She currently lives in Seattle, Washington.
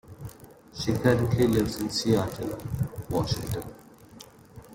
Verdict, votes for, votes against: rejected, 1, 2